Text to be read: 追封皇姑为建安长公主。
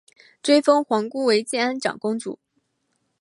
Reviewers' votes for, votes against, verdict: 2, 1, accepted